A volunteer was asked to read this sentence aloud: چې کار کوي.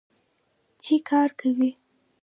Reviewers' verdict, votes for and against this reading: accepted, 2, 0